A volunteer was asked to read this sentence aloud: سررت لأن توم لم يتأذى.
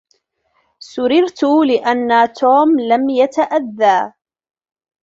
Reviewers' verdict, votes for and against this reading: rejected, 0, 2